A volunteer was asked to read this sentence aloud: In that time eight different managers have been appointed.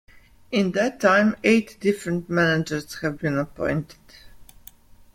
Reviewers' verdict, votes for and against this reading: accepted, 2, 0